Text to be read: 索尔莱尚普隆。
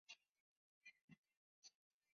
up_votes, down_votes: 0, 3